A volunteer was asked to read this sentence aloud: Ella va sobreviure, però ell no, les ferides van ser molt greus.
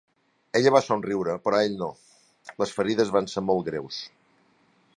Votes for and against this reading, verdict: 0, 2, rejected